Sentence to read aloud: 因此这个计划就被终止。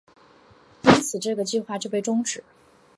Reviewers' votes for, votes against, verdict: 3, 0, accepted